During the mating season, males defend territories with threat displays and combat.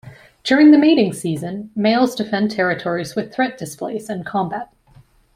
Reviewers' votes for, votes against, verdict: 2, 0, accepted